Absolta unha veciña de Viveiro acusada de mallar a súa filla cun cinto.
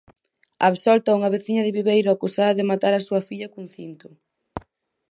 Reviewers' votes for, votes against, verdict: 0, 4, rejected